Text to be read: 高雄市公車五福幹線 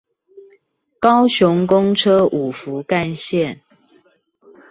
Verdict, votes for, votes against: rejected, 0, 2